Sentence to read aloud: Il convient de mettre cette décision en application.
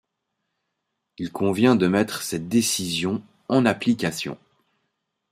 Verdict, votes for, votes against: accepted, 6, 1